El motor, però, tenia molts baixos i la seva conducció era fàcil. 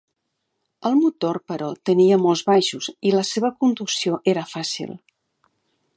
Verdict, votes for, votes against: accepted, 2, 0